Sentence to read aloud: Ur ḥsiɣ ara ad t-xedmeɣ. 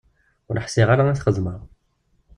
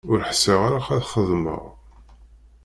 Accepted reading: first